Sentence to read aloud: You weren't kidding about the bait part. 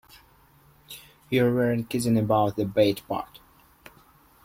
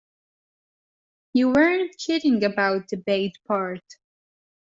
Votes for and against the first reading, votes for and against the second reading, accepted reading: 1, 2, 2, 1, second